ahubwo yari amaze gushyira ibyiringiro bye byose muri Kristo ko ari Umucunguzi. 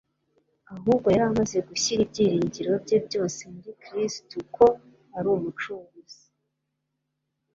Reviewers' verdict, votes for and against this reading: accepted, 2, 0